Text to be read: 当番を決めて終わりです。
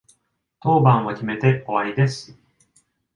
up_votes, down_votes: 2, 0